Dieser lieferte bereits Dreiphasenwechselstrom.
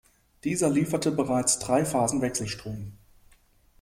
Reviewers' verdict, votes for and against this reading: accepted, 2, 0